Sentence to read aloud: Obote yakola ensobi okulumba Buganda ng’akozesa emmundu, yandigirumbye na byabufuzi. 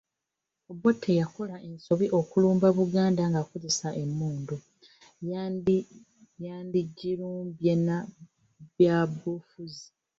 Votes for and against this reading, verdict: 0, 2, rejected